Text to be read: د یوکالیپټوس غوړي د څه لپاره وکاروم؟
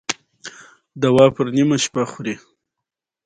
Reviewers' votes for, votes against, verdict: 1, 2, rejected